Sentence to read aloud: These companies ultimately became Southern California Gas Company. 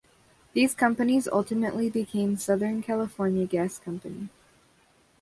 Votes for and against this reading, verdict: 2, 0, accepted